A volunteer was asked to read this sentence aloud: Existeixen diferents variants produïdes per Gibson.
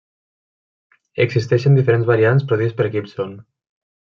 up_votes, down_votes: 2, 1